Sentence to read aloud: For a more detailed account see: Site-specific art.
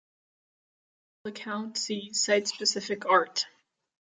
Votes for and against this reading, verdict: 0, 2, rejected